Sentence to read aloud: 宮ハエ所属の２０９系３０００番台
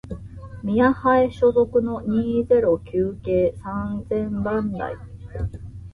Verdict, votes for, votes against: rejected, 0, 2